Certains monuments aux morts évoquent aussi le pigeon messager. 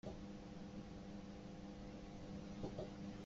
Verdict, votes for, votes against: rejected, 0, 2